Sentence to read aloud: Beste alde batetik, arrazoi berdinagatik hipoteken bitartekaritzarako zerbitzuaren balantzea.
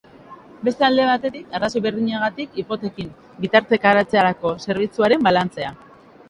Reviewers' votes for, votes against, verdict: 0, 2, rejected